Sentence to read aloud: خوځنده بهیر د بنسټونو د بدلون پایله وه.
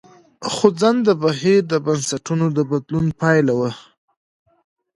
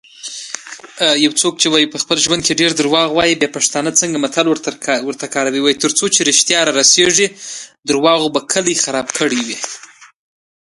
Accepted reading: first